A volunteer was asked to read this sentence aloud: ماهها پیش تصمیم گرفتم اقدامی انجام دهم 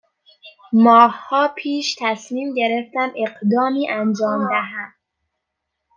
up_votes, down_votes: 2, 0